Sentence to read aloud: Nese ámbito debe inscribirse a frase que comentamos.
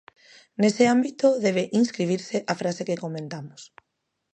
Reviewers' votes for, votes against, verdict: 2, 0, accepted